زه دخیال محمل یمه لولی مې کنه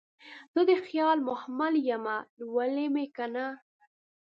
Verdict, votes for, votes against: rejected, 1, 2